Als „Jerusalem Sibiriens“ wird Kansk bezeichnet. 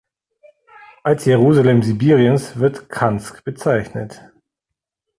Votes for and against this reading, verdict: 1, 2, rejected